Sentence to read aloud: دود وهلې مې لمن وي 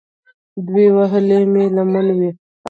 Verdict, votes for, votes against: rejected, 1, 2